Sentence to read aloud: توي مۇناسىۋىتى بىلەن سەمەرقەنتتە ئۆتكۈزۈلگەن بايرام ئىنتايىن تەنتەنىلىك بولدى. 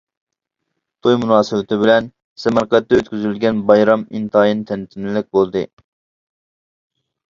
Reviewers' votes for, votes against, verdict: 1, 2, rejected